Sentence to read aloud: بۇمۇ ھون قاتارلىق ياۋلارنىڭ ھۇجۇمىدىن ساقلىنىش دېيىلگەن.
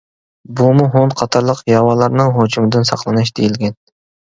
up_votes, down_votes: 1, 2